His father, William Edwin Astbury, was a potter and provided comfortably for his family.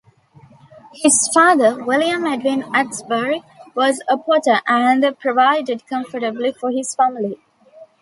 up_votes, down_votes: 1, 2